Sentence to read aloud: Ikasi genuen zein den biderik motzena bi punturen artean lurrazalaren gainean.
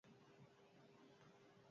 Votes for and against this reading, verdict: 0, 4, rejected